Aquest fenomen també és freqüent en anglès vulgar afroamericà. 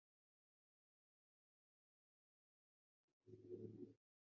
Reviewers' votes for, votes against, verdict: 0, 2, rejected